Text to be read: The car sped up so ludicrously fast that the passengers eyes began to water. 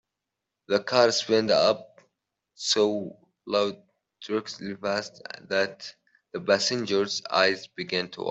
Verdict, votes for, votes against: rejected, 1, 3